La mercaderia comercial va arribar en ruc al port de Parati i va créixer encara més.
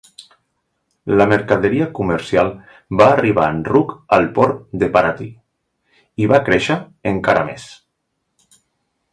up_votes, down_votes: 2, 0